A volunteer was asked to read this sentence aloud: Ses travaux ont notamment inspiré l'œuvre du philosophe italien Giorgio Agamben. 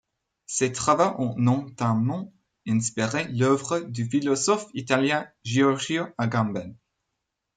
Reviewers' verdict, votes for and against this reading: rejected, 1, 2